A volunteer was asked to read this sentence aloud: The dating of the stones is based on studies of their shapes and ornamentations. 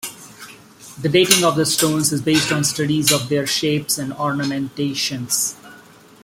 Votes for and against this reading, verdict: 2, 0, accepted